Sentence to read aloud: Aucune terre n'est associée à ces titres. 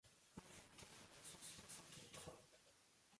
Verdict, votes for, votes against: rejected, 0, 2